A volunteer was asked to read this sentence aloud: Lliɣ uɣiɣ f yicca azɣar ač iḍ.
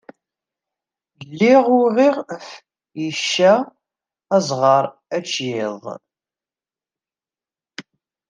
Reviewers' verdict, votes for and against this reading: rejected, 0, 2